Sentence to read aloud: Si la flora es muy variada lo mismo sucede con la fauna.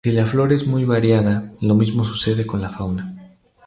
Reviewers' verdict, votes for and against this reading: accepted, 2, 0